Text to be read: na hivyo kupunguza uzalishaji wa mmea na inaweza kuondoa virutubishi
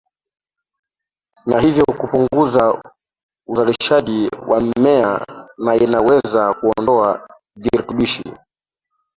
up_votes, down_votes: 0, 2